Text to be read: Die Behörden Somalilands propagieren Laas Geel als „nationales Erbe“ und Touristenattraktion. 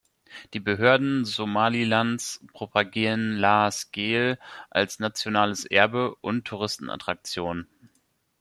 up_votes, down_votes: 2, 1